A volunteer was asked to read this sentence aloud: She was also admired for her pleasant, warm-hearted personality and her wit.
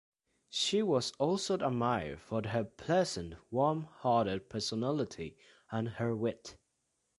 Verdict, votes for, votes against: rejected, 0, 2